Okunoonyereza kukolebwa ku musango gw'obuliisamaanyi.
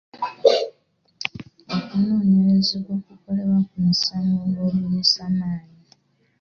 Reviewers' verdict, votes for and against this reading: rejected, 0, 2